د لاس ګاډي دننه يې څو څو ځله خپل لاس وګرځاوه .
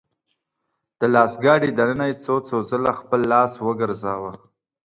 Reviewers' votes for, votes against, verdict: 2, 0, accepted